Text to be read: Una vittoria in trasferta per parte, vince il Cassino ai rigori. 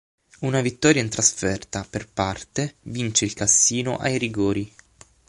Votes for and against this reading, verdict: 9, 0, accepted